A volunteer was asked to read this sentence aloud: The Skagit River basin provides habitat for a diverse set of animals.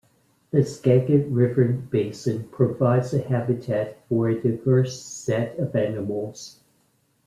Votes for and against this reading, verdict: 1, 2, rejected